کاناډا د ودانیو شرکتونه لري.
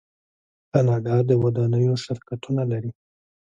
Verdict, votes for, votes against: accepted, 2, 0